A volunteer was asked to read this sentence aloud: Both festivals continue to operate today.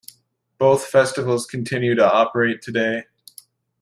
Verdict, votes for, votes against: accepted, 2, 0